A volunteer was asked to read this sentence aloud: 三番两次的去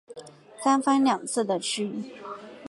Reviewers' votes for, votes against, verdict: 4, 0, accepted